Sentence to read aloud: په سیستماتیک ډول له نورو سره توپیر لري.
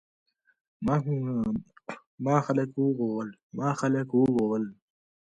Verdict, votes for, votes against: rejected, 0, 2